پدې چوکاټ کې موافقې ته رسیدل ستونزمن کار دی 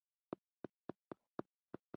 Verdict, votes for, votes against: rejected, 0, 2